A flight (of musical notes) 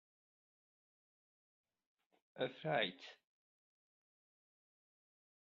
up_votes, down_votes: 0, 3